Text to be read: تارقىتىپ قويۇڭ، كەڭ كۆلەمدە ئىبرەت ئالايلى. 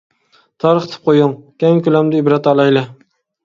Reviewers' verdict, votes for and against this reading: accepted, 2, 1